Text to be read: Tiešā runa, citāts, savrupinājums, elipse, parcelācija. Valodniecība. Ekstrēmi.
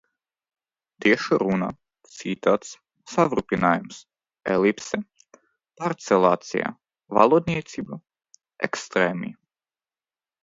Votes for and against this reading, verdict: 1, 2, rejected